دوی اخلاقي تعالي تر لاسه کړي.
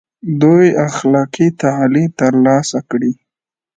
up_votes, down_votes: 2, 0